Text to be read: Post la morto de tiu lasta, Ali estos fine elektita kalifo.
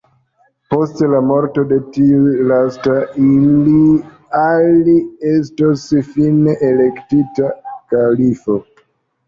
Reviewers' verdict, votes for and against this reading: rejected, 1, 2